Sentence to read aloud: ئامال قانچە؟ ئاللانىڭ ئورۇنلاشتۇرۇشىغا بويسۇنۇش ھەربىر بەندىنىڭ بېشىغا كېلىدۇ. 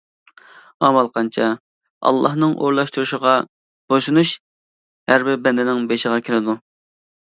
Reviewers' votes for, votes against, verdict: 2, 0, accepted